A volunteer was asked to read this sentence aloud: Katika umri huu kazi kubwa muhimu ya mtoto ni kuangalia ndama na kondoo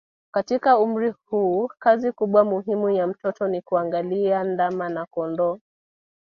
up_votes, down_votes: 2, 1